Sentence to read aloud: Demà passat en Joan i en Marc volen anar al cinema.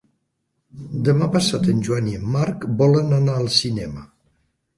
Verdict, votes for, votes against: accepted, 2, 0